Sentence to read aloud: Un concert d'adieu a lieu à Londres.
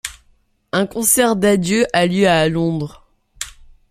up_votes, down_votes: 2, 0